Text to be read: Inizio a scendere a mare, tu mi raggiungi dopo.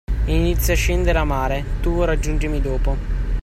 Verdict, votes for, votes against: rejected, 0, 2